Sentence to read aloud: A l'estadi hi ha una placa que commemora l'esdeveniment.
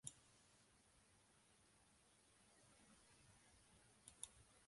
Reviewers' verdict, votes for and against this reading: rejected, 1, 2